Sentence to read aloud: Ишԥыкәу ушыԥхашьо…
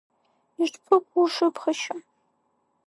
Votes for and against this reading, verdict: 3, 0, accepted